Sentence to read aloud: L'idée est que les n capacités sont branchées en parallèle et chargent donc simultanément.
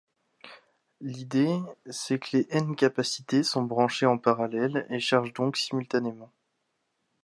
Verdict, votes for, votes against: rejected, 1, 2